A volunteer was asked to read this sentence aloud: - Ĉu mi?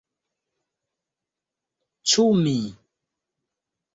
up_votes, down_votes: 2, 0